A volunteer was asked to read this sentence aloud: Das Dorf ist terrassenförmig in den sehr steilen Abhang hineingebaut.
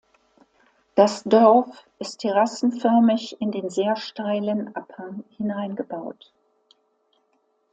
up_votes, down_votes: 2, 0